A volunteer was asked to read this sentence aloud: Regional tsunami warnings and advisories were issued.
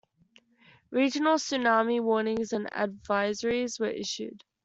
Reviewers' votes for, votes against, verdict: 2, 0, accepted